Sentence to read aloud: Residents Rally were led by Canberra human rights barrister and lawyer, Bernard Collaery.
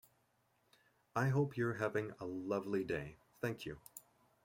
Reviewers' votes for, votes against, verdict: 0, 2, rejected